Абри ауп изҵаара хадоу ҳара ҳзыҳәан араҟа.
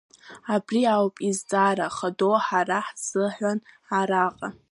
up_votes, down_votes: 1, 2